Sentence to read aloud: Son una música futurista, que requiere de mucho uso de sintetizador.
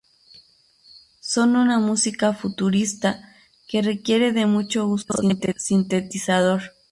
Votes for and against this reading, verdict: 0, 2, rejected